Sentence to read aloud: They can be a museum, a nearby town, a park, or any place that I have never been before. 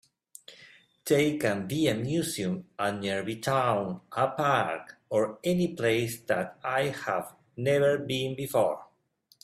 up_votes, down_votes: 1, 2